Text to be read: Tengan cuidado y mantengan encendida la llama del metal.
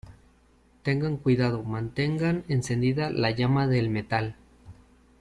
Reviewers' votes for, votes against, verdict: 1, 2, rejected